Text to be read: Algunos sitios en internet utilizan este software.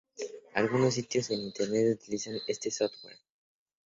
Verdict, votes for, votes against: accepted, 2, 0